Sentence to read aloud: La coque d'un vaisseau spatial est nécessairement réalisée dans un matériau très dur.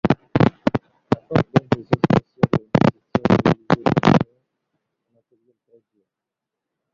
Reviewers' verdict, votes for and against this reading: rejected, 0, 2